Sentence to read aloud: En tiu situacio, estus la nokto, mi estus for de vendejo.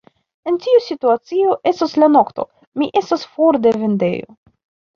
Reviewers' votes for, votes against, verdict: 2, 1, accepted